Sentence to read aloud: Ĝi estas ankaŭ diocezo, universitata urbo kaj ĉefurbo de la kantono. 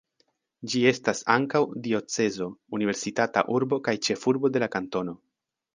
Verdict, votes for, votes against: accepted, 2, 0